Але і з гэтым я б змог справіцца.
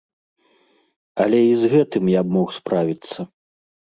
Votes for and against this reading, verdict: 0, 2, rejected